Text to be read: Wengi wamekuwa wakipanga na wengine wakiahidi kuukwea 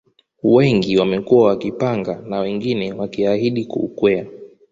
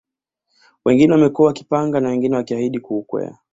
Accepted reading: first